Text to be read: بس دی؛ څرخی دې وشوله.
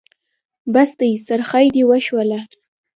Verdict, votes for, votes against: accepted, 2, 0